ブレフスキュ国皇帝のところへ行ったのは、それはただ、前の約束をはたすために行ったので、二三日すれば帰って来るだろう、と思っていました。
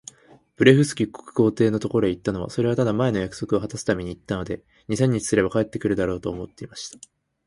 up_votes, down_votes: 15, 5